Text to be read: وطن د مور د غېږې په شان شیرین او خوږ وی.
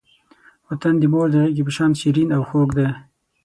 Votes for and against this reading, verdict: 3, 6, rejected